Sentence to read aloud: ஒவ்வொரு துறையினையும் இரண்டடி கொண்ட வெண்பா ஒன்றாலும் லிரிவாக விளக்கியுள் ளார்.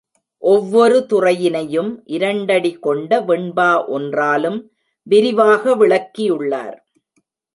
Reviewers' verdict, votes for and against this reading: rejected, 0, 2